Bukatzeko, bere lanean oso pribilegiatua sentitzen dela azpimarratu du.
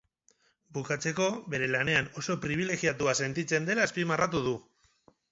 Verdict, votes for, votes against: accepted, 4, 0